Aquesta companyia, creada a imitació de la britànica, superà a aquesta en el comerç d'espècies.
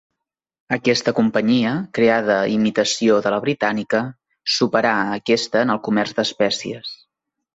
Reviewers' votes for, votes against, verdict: 2, 0, accepted